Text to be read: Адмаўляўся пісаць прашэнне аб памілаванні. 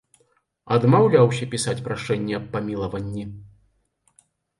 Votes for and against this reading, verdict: 2, 0, accepted